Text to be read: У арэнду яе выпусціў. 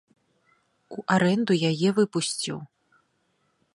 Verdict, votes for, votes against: accepted, 2, 0